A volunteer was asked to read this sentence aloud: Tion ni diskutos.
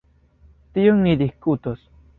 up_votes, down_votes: 1, 2